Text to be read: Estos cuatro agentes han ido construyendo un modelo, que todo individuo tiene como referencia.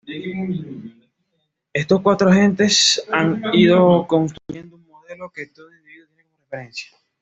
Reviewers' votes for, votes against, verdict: 1, 2, rejected